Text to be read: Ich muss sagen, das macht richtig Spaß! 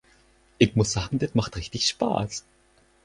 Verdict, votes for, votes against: rejected, 0, 4